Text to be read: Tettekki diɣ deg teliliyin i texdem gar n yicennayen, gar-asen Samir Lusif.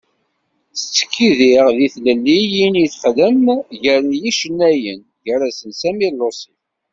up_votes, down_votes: 1, 2